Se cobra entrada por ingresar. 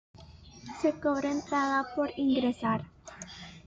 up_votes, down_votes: 2, 0